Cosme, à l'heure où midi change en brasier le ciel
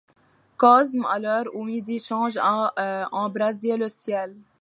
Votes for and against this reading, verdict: 0, 2, rejected